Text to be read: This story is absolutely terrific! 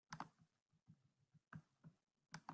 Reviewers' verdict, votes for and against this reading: rejected, 1, 2